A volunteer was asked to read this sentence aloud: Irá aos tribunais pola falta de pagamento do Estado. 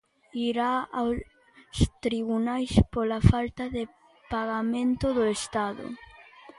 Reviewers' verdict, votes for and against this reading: rejected, 0, 2